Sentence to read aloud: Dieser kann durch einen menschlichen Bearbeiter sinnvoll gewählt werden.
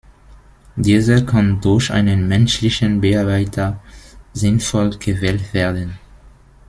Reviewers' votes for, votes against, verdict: 2, 0, accepted